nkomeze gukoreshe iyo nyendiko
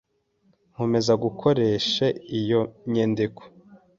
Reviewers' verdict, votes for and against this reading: accepted, 2, 1